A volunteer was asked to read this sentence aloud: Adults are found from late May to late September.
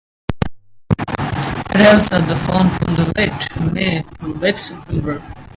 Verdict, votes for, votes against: rejected, 0, 4